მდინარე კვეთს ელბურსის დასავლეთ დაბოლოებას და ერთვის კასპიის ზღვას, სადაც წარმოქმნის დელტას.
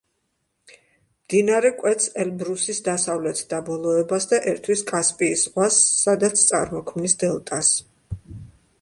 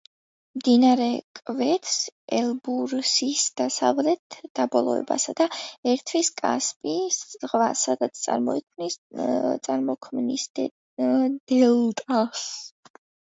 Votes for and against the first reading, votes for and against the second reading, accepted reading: 2, 0, 0, 2, first